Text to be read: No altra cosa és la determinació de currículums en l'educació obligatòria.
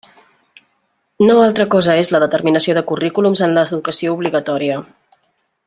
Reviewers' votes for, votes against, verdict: 1, 2, rejected